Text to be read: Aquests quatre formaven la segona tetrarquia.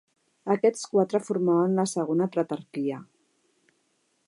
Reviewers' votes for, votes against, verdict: 0, 2, rejected